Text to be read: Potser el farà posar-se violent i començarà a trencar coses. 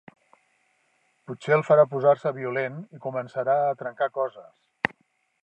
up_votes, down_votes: 3, 1